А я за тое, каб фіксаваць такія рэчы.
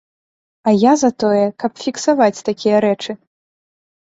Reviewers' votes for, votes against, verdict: 2, 0, accepted